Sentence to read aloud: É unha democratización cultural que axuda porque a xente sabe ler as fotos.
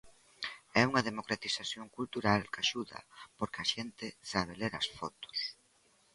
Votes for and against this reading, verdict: 2, 0, accepted